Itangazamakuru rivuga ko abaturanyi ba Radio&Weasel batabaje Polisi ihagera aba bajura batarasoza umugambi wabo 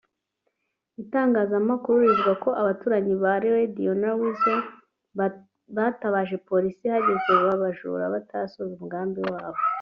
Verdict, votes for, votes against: rejected, 1, 2